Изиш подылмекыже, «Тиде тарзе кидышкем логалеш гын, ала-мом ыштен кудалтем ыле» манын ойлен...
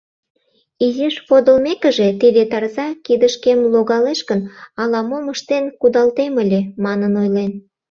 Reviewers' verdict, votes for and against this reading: rejected, 0, 2